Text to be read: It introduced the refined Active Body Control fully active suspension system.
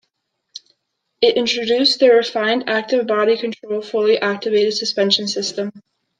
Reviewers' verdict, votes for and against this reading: accepted, 2, 0